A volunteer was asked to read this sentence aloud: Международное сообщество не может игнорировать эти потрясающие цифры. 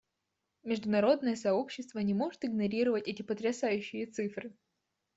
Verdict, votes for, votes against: accepted, 2, 0